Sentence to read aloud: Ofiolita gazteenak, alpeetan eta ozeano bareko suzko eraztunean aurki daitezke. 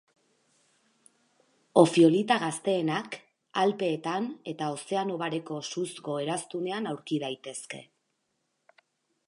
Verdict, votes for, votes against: accepted, 6, 2